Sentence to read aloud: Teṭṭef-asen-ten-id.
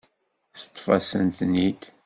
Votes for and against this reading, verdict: 2, 0, accepted